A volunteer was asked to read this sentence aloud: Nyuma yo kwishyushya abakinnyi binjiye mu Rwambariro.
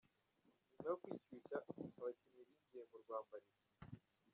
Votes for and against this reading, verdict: 2, 1, accepted